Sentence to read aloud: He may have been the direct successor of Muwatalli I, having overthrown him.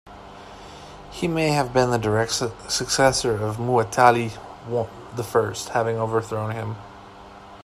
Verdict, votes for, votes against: rejected, 0, 2